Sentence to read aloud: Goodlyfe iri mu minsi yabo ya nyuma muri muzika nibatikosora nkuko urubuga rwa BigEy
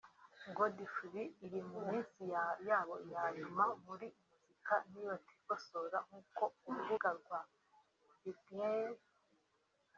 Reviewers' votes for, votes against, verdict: 1, 2, rejected